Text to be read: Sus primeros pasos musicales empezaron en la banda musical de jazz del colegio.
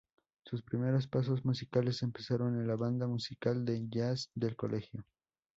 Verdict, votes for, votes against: accepted, 6, 0